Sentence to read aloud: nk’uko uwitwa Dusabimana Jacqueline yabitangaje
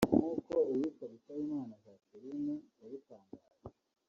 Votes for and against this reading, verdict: 1, 2, rejected